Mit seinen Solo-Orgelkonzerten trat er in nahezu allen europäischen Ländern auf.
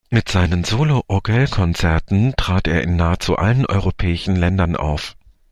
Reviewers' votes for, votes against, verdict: 2, 0, accepted